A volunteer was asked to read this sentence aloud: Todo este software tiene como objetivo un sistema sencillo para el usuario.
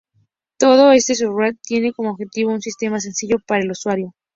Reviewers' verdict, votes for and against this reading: rejected, 0, 2